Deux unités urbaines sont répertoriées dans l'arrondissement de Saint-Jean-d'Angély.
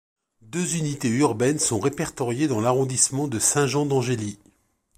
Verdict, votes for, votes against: accepted, 2, 0